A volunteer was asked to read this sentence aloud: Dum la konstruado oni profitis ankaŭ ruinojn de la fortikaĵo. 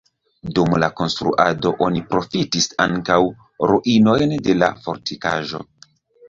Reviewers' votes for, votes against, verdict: 3, 0, accepted